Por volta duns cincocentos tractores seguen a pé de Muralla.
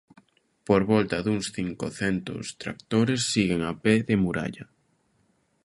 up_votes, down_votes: 0, 2